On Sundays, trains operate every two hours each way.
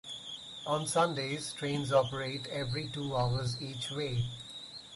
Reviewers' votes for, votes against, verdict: 6, 2, accepted